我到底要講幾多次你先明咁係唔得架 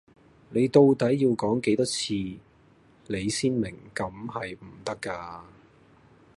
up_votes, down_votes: 0, 2